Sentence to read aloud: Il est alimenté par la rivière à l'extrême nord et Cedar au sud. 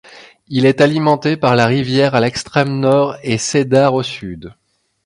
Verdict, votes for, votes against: accepted, 2, 0